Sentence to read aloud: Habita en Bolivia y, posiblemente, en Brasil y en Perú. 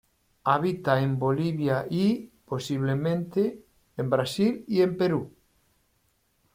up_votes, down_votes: 2, 0